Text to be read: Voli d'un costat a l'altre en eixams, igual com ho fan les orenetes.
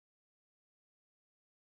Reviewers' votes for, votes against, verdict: 0, 2, rejected